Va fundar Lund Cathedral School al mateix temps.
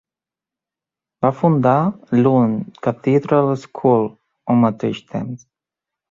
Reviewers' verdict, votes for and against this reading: accepted, 2, 0